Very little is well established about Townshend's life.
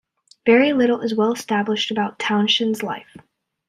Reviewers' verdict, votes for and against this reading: accepted, 2, 0